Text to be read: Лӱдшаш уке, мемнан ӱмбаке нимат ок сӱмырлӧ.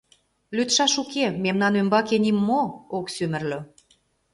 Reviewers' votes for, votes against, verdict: 0, 2, rejected